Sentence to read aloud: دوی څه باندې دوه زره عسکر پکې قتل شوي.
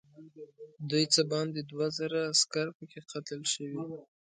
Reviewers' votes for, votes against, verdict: 0, 2, rejected